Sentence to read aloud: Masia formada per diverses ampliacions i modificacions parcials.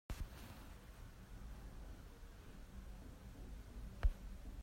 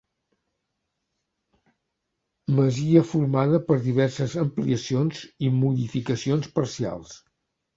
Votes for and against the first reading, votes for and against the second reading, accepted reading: 0, 2, 2, 0, second